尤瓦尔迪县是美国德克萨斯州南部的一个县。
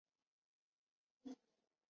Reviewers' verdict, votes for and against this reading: rejected, 0, 6